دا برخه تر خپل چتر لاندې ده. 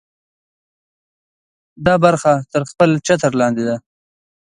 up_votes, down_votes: 2, 0